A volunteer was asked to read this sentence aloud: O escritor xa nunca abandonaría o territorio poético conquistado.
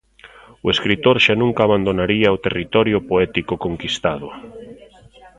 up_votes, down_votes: 2, 0